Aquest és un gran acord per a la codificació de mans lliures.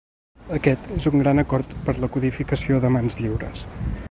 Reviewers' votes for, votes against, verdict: 1, 2, rejected